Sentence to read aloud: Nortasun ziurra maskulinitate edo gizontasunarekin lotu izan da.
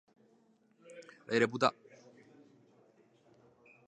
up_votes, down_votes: 0, 3